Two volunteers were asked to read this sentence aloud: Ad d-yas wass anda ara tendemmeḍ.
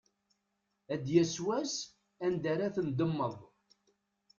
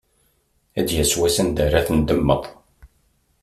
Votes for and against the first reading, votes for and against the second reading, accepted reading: 0, 2, 2, 0, second